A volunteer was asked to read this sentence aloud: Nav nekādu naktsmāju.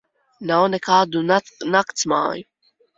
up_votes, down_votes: 0, 2